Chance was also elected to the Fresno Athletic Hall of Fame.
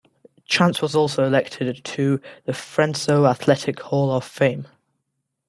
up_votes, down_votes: 0, 2